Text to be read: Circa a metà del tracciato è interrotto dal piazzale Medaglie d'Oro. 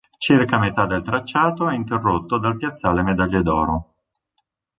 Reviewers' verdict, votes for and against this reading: accepted, 2, 0